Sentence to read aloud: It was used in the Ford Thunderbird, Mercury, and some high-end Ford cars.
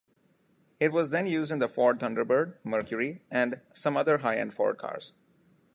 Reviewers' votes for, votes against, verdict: 0, 2, rejected